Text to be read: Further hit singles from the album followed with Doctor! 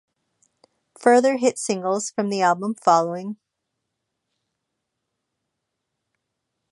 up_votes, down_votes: 0, 2